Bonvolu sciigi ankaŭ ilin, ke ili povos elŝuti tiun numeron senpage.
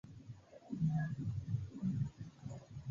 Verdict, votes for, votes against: accepted, 2, 1